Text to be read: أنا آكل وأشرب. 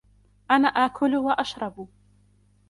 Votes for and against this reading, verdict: 2, 0, accepted